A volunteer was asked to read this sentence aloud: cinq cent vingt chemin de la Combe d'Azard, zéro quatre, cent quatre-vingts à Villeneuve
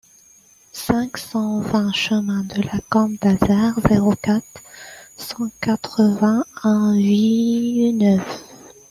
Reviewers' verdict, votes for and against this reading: rejected, 0, 2